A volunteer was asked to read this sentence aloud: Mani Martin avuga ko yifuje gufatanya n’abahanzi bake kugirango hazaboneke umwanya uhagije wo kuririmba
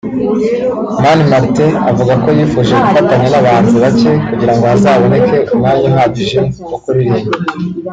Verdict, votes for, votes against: accepted, 2, 1